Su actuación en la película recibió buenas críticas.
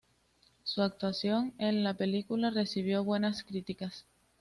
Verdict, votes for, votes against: accepted, 2, 1